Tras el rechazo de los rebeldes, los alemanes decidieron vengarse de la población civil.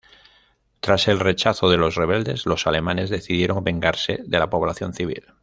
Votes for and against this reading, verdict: 2, 0, accepted